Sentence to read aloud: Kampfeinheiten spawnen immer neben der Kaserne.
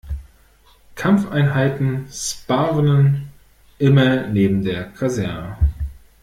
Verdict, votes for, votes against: rejected, 1, 2